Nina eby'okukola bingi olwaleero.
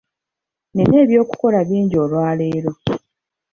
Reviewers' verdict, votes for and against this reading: accepted, 2, 0